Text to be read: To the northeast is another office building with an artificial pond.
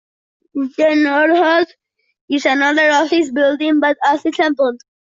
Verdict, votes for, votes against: rejected, 1, 2